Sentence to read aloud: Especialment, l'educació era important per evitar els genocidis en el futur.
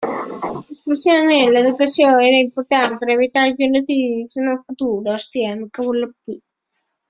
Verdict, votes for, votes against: rejected, 0, 2